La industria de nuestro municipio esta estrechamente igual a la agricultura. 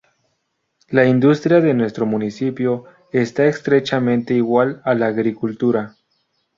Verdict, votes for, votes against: accepted, 2, 0